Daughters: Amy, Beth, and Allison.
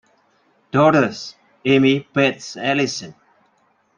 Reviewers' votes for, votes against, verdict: 0, 2, rejected